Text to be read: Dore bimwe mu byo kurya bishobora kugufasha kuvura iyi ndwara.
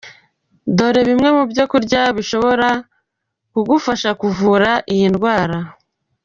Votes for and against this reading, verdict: 2, 0, accepted